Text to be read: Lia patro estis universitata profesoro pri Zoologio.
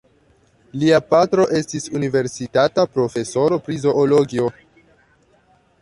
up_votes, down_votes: 0, 2